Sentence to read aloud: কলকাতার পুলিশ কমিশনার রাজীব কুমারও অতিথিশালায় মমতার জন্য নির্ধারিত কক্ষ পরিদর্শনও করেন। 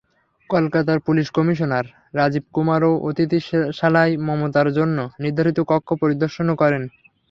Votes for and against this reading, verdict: 0, 3, rejected